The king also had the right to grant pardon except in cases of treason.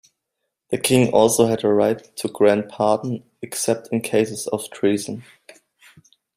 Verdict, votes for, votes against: accepted, 2, 0